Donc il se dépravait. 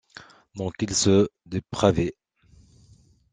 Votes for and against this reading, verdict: 2, 0, accepted